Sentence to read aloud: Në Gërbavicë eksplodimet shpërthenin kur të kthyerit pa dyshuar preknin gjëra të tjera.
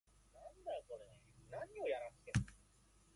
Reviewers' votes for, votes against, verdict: 0, 2, rejected